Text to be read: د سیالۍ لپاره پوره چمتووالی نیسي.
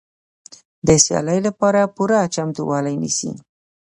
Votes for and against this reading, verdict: 2, 0, accepted